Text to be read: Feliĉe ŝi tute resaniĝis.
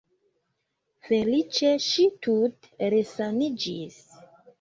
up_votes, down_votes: 2, 0